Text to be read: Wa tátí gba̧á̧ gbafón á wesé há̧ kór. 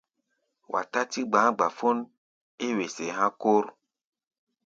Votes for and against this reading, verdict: 1, 2, rejected